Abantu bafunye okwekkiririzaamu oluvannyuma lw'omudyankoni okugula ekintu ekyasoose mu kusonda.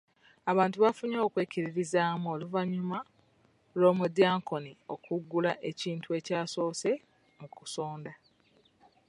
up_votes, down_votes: 2, 0